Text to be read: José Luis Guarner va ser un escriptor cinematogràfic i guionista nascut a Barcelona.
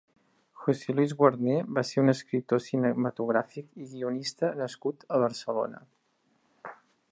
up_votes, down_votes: 3, 0